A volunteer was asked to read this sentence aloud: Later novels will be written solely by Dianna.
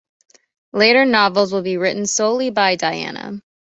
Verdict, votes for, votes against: accepted, 2, 0